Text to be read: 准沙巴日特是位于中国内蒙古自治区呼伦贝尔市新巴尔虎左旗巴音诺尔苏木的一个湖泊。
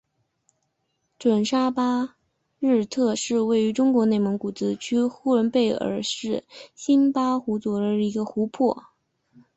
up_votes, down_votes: 1, 2